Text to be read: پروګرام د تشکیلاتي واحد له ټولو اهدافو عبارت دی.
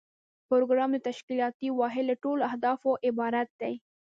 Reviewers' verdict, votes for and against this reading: rejected, 0, 2